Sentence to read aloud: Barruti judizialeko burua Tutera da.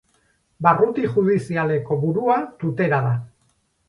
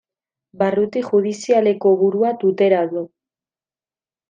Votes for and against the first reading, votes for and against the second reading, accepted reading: 6, 0, 0, 2, first